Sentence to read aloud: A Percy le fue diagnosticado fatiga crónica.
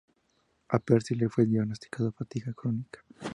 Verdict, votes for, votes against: accepted, 2, 0